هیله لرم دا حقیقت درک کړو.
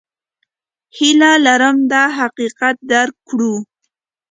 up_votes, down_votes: 2, 0